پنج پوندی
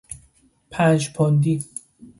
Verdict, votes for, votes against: accepted, 2, 0